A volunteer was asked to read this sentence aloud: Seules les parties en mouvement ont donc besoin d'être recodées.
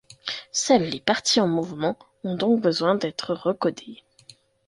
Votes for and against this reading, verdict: 2, 0, accepted